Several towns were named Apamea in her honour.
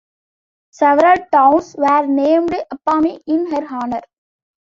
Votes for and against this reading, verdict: 2, 1, accepted